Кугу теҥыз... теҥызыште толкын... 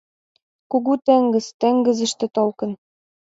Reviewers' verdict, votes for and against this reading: rejected, 1, 2